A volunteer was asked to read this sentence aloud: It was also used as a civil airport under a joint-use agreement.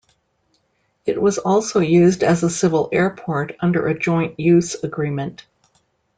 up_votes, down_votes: 2, 0